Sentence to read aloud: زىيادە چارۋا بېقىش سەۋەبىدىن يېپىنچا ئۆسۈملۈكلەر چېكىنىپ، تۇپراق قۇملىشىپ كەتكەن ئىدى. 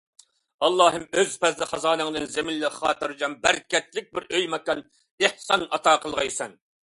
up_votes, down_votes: 0, 2